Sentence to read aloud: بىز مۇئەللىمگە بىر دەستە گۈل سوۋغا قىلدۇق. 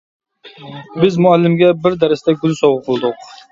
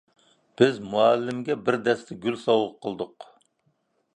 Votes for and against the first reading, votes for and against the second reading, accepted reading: 0, 2, 2, 0, second